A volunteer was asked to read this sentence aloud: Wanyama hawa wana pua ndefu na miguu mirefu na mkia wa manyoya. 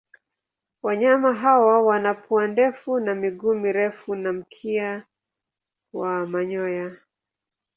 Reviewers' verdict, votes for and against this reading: accepted, 2, 0